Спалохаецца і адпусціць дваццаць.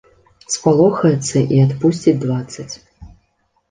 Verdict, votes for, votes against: accepted, 2, 0